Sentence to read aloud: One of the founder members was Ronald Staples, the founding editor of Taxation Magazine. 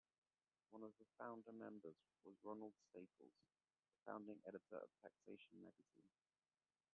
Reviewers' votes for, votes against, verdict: 1, 2, rejected